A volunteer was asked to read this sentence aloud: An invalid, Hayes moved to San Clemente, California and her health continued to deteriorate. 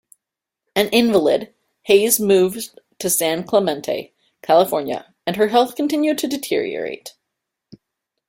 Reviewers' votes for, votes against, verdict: 2, 0, accepted